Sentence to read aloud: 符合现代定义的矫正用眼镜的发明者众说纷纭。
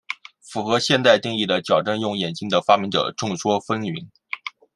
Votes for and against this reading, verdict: 2, 0, accepted